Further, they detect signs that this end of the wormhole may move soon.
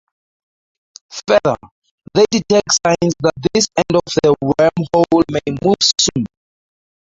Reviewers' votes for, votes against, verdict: 0, 2, rejected